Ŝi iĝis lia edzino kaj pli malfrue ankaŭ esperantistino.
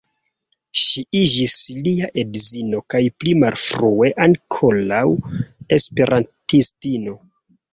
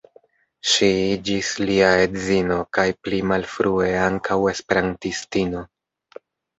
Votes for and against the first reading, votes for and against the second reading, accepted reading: 0, 2, 2, 0, second